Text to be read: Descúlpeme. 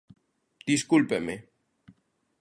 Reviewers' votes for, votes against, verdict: 1, 2, rejected